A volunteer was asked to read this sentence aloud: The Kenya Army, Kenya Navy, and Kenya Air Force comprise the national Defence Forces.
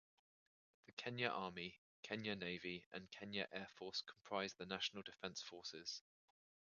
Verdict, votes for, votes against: accepted, 2, 1